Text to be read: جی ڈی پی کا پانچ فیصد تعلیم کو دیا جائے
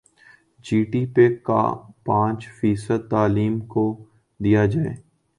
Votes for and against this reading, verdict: 0, 2, rejected